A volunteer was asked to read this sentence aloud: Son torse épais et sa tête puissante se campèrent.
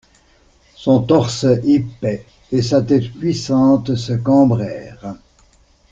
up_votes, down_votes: 0, 2